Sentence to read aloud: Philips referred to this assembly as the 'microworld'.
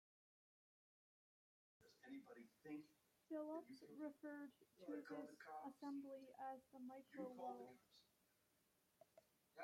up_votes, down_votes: 0, 2